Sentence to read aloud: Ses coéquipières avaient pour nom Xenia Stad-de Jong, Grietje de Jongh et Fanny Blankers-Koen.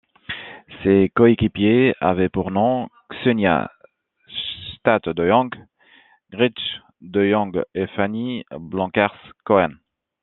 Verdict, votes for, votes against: rejected, 0, 2